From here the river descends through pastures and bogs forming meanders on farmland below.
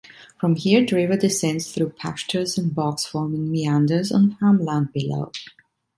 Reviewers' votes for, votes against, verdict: 2, 0, accepted